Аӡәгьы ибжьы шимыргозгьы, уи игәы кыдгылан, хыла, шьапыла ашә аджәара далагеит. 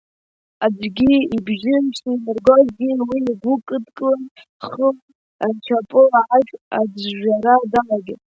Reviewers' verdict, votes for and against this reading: rejected, 0, 2